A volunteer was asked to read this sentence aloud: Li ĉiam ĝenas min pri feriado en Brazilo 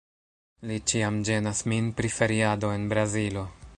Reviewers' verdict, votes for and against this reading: rejected, 1, 2